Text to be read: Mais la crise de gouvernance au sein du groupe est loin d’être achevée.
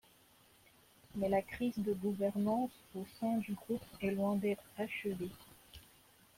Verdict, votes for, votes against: accepted, 2, 1